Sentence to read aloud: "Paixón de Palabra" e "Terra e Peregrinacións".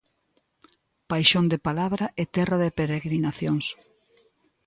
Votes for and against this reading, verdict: 0, 2, rejected